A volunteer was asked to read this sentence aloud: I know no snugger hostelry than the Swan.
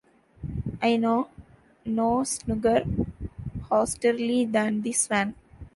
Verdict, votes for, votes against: rejected, 0, 2